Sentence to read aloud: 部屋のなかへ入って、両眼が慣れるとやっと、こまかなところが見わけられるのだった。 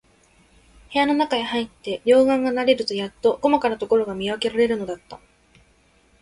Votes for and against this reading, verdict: 2, 0, accepted